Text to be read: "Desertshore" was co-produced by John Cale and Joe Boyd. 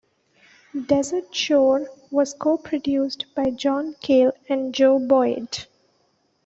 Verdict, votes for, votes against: accepted, 2, 0